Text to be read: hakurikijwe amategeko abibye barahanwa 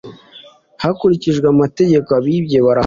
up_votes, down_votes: 1, 2